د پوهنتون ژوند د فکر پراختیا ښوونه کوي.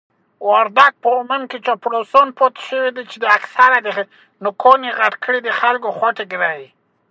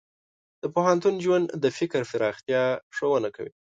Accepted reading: second